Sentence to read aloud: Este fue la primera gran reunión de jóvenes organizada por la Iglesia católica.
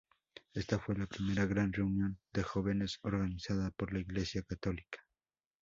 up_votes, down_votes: 0, 2